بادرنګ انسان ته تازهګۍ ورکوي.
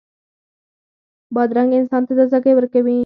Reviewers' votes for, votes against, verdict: 4, 2, accepted